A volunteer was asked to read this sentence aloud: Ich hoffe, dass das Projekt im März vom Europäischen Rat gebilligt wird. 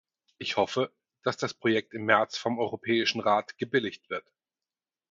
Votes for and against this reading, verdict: 4, 0, accepted